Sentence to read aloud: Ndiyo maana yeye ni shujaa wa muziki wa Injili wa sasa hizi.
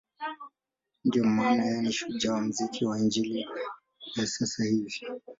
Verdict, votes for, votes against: rejected, 2, 4